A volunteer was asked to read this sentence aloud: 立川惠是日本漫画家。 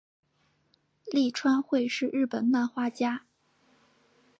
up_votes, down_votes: 2, 0